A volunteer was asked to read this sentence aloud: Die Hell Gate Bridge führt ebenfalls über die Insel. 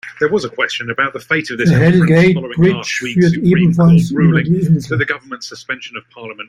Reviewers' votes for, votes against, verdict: 1, 2, rejected